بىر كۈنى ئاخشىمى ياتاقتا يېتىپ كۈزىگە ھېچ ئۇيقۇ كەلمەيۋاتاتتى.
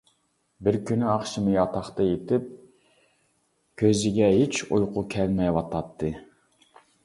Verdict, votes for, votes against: accepted, 2, 1